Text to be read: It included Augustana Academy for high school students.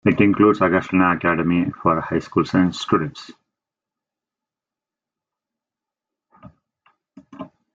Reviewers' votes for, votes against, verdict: 0, 2, rejected